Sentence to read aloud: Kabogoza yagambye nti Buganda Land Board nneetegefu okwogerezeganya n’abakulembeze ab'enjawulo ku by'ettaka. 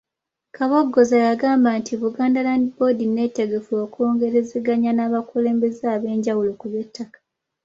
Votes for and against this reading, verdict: 0, 2, rejected